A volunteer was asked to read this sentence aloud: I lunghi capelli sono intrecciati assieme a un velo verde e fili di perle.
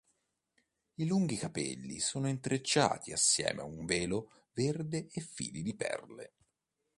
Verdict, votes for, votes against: accepted, 2, 0